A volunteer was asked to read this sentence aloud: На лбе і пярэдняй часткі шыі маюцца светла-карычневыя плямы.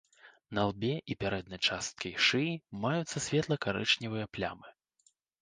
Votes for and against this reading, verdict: 1, 2, rejected